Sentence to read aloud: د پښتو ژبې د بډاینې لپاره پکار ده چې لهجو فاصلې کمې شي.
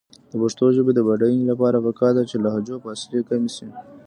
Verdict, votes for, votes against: accepted, 2, 0